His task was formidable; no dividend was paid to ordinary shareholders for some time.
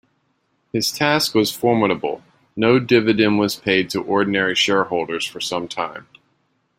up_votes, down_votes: 2, 0